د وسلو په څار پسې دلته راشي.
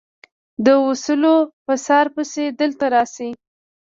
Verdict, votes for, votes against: rejected, 1, 2